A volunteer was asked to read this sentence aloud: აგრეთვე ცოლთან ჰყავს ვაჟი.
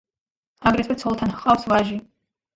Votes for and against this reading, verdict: 2, 0, accepted